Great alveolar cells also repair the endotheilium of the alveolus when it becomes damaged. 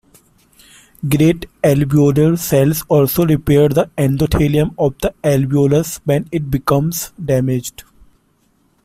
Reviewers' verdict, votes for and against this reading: rejected, 0, 2